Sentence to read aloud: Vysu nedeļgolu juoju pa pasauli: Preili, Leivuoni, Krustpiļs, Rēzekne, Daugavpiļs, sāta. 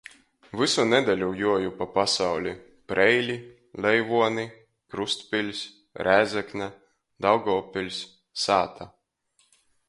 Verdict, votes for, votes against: rejected, 0, 2